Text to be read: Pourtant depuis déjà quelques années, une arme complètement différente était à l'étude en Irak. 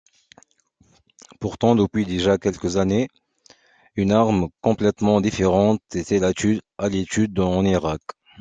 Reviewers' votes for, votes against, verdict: 0, 2, rejected